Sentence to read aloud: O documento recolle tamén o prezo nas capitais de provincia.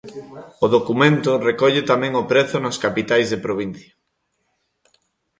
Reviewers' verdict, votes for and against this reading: accepted, 2, 0